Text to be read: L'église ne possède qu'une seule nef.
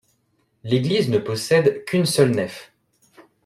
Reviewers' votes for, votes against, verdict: 2, 0, accepted